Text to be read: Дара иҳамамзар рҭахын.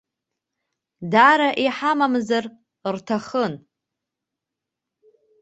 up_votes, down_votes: 1, 4